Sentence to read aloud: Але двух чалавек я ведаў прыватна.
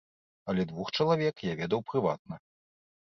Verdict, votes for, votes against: accepted, 2, 0